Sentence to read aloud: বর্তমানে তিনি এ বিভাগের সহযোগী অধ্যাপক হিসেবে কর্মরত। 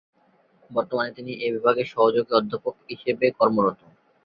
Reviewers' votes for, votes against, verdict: 2, 0, accepted